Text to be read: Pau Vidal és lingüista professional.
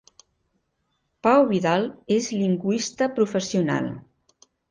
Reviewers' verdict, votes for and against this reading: accepted, 3, 0